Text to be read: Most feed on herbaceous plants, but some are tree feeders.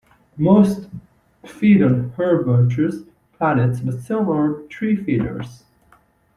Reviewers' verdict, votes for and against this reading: rejected, 0, 2